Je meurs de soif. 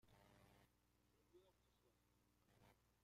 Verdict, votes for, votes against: rejected, 0, 2